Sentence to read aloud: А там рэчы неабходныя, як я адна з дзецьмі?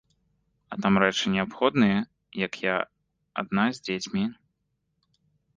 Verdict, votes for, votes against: rejected, 1, 2